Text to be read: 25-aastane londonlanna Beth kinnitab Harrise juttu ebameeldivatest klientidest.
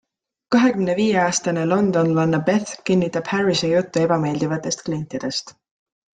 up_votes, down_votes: 0, 2